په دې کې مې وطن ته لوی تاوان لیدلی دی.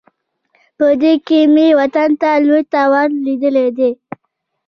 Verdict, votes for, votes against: rejected, 1, 2